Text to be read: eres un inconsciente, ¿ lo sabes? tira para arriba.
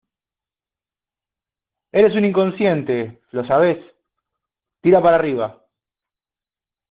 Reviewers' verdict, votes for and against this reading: accepted, 2, 0